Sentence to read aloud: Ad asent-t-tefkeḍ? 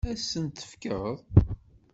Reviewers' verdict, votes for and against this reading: rejected, 1, 2